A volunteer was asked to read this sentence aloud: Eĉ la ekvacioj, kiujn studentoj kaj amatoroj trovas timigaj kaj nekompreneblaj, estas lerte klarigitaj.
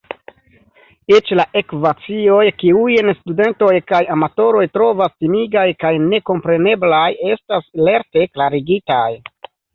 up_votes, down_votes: 2, 1